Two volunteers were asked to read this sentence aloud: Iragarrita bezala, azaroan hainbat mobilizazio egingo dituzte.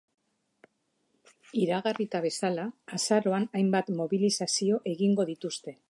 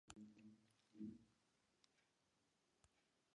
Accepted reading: first